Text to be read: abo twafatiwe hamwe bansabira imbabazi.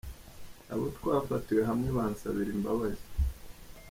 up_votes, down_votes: 2, 0